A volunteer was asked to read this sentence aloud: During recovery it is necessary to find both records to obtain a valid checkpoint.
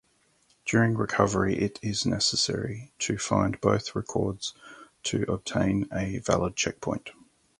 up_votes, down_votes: 4, 0